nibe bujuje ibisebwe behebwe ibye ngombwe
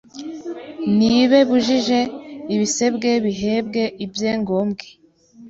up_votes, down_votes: 1, 2